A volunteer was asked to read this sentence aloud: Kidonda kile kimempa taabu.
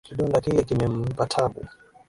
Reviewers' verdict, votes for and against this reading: accepted, 2, 0